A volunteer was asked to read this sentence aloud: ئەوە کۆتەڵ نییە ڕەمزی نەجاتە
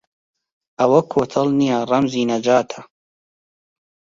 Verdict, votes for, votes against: accepted, 2, 0